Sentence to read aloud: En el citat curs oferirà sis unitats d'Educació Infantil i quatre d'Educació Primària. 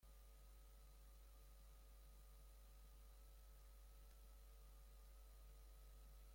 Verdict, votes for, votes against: rejected, 0, 3